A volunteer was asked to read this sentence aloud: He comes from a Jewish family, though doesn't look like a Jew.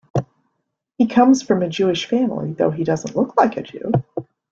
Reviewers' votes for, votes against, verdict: 2, 0, accepted